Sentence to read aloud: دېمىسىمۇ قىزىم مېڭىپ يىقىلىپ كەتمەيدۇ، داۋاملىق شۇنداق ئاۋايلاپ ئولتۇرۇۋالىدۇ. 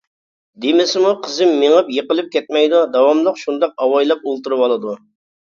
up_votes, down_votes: 2, 0